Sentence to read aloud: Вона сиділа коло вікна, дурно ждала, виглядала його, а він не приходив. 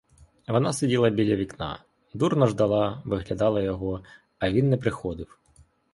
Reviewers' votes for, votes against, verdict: 2, 3, rejected